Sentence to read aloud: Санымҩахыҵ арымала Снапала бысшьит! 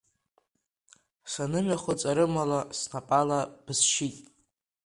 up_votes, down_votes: 2, 0